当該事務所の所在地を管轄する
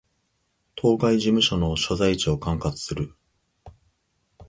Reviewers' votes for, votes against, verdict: 1, 2, rejected